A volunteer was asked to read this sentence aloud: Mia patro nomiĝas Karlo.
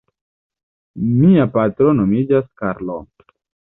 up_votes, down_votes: 1, 2